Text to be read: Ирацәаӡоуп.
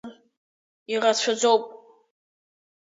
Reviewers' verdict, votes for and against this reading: accepted, 2, 1